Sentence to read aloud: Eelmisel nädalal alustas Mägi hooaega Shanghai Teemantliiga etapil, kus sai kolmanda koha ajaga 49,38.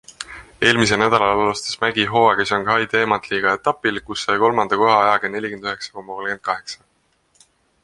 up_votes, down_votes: 0, 2